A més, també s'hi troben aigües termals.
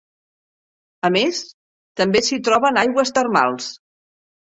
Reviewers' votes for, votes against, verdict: 3, 0, accepted